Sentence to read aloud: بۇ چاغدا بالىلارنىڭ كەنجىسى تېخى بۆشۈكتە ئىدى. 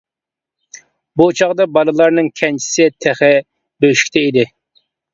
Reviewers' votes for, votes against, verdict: 2, 0, accepted